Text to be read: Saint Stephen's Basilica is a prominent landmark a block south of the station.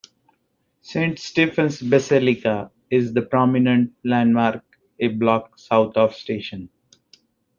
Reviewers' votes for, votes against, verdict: 1, 2, rejected